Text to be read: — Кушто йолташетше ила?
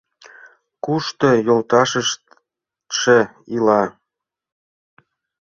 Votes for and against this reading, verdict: 0, 2, rejected